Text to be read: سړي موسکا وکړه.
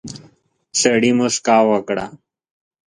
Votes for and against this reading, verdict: 2, 0, accepted